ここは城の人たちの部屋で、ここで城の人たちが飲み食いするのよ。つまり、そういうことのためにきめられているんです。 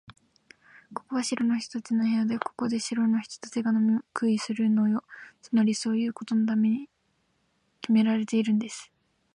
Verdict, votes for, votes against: accepted, 2, 0